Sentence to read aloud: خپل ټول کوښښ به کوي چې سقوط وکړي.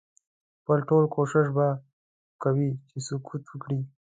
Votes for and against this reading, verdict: 1, 2, rejected